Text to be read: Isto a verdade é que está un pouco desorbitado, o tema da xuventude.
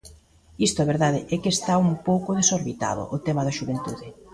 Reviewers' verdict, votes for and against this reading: accepted, 2, 0